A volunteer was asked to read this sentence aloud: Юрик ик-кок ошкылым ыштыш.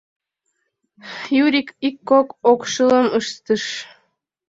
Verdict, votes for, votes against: rejected, 0, 2